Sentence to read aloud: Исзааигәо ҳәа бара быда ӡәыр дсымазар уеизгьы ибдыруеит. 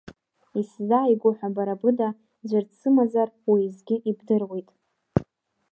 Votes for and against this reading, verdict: 1, 2, rejected